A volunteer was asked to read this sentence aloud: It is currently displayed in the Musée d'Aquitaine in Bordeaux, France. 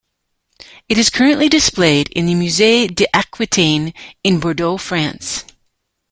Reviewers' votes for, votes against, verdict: 0, 2, rejected